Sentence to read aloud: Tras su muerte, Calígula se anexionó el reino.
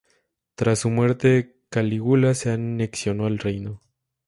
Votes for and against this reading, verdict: 0, 2, rejected